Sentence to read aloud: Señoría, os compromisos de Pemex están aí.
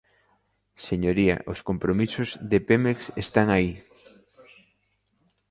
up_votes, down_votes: 2, 0